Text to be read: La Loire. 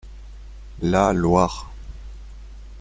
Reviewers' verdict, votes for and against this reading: rejected, 1, 2